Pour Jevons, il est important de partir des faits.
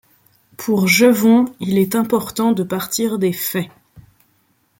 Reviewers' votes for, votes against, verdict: 2, 0, accepted